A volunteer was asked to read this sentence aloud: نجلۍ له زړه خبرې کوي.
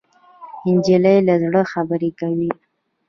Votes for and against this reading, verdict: 2, 0, accepted